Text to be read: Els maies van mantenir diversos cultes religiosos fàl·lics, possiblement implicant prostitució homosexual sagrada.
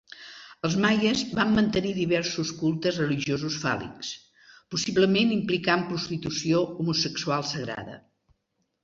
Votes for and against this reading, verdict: 2, 0, accepted